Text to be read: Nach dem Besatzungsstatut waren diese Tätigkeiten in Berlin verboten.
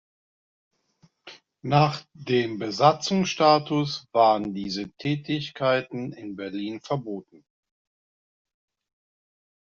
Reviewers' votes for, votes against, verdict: 0, 2, rejected